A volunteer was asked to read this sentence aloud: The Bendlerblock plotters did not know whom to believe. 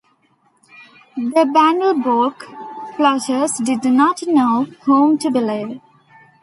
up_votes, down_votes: 1, 2